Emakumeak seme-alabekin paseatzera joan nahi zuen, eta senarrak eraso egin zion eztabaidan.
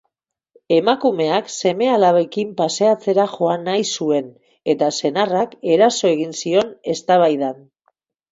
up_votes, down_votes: 4, 0